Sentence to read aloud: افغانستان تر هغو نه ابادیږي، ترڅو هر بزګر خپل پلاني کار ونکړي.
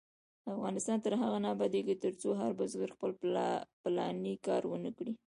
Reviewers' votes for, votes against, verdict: 2, 0, accepted